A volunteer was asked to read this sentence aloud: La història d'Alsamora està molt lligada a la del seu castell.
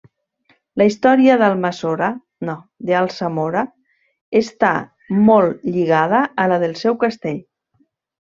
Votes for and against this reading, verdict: 0, 2, rejected